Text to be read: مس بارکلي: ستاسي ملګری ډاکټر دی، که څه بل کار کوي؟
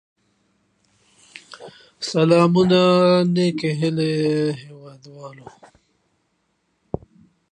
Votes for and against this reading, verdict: 0, 2, rejected